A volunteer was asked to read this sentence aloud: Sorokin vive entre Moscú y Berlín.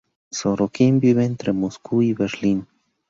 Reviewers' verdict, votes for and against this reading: accepted, 2, 0